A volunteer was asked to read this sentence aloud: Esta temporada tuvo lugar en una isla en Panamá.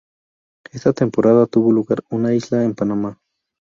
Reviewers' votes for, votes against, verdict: 0, 2, rejected